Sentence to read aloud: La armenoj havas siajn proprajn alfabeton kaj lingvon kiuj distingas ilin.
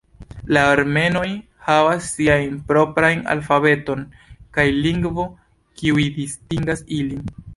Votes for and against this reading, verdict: 0, 2, rejected